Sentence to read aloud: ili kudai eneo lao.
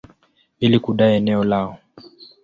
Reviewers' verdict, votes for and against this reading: accepted, 2, 0